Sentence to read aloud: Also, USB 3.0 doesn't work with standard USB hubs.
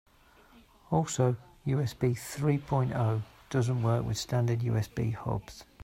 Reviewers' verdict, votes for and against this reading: rejected, 0, 2